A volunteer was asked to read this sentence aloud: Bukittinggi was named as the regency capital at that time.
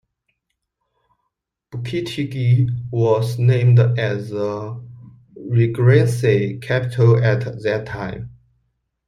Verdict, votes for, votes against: rejected, 0, 2